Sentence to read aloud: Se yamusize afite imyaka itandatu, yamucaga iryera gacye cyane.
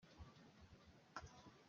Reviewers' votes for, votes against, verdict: 0, 2, rejected